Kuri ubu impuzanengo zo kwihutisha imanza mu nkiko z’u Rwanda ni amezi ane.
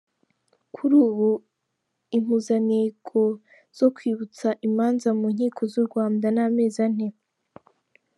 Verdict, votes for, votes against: accepted, 2, 0